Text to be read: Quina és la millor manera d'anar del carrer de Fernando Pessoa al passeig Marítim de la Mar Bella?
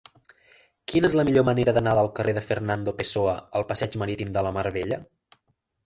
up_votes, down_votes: 3, 0